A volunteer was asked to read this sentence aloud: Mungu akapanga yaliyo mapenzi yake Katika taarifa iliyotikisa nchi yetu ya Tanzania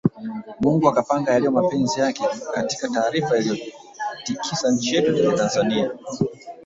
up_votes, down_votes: 0, 3